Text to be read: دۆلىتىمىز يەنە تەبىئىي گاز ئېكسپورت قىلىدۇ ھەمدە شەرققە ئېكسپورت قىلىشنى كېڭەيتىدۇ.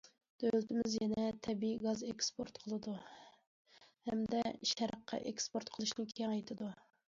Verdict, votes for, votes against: rejected, 1, 2